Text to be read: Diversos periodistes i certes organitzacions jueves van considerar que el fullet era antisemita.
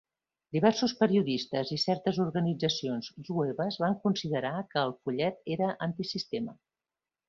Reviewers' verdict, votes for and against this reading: rejected, 0, 2